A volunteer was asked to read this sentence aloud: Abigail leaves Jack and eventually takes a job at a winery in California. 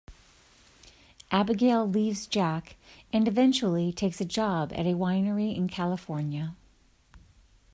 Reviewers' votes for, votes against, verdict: 2, 0, accepted